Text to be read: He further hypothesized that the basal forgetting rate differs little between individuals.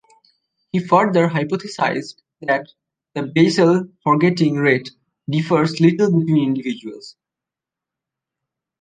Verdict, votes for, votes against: rejected, 1, 2